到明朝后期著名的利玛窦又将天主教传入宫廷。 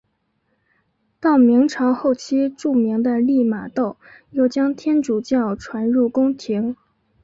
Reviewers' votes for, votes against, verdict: 3, 0, accepted